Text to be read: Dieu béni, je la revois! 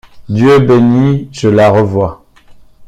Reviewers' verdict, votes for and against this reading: accepted, 2, 1